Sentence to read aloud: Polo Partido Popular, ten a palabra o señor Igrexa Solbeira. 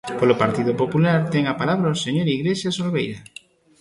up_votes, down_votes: 1, 2